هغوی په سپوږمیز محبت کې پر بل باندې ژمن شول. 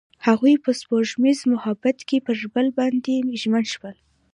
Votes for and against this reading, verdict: 2, 0, accepted